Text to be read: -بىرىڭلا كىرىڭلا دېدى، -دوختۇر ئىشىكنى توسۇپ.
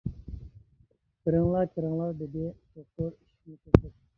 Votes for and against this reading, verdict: 0, 2, rejected